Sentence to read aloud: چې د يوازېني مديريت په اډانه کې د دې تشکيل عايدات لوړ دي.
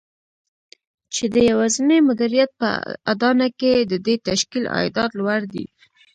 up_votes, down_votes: 1, 2